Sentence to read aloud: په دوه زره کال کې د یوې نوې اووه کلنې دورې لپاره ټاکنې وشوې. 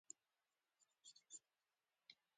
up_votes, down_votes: 0, 2